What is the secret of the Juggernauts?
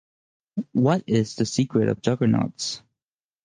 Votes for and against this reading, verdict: 0, 4, rejected